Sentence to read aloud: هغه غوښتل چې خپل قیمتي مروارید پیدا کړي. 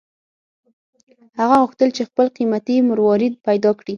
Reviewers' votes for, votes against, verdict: 6, 0, accepted